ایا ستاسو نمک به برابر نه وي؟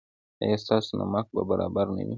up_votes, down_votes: 2, 0